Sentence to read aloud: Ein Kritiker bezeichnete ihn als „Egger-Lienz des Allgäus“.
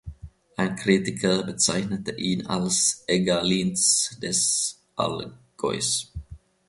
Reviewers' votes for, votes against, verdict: 1, 2, rejected